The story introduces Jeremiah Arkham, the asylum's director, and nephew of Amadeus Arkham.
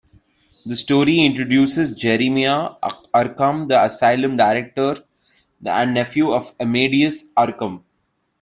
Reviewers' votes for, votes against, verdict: 0, 2, rejected